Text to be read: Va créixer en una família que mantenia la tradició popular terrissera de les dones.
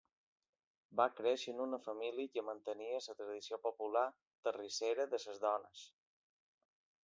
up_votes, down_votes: 1, 2